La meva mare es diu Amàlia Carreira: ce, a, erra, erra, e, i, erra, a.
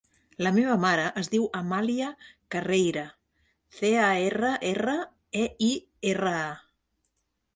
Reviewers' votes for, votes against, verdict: 0, 2, rejected